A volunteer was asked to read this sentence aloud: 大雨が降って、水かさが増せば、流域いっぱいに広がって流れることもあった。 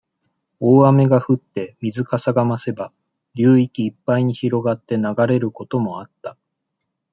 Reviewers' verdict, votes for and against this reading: accepted, 2, 0